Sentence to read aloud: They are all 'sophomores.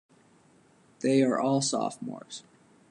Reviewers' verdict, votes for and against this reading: accepted, 2, 0